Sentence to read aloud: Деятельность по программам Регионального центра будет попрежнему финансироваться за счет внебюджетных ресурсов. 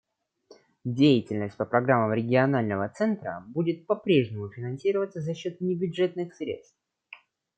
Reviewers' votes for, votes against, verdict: 1, 2, rejected